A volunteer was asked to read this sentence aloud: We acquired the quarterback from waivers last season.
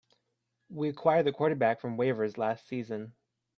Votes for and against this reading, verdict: 2, 0, accepted